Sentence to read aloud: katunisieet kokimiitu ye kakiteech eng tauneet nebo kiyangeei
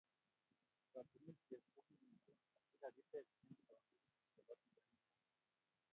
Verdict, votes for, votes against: rejected, 0, 2